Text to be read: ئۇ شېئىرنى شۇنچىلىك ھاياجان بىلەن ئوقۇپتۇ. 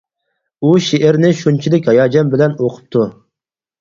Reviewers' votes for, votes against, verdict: 4, 0, accepted